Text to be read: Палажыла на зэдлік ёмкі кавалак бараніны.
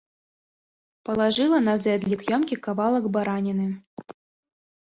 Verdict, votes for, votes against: accepted, 2, 0